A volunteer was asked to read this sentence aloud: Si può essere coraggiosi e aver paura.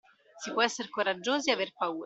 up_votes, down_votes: 2, 1